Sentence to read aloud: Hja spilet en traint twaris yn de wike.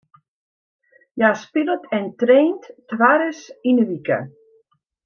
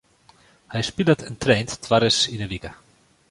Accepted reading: first